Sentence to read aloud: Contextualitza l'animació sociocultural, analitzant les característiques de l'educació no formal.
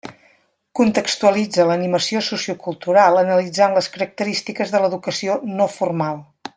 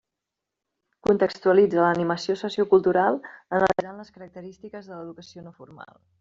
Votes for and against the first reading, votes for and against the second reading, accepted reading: 3, 0, 1, 2, first